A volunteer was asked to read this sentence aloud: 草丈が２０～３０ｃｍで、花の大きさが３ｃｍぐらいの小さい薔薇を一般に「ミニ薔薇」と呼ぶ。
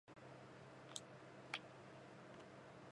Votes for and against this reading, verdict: 0, 2, rejected